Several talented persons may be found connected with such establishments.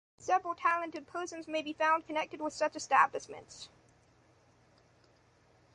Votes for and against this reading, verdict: 2, 1, accepted